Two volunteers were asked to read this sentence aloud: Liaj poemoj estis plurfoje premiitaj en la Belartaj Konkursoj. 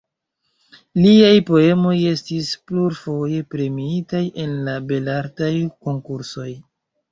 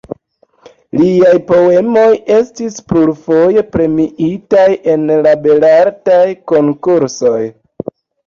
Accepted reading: second